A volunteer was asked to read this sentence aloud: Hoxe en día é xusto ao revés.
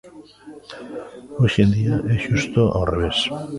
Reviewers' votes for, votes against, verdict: 1, 2, rejected